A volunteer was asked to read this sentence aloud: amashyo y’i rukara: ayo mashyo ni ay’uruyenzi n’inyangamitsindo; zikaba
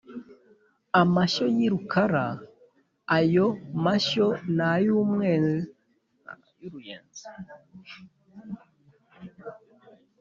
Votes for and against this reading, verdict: 2, 4, rejected